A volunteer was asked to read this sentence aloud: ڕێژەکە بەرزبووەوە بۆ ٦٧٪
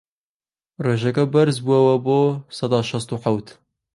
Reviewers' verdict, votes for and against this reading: rejected, 0, 2